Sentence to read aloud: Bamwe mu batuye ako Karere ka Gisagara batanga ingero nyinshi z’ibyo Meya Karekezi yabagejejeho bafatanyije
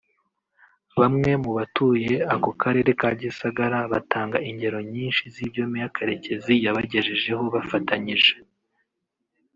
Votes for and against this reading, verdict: 2, 1, accepted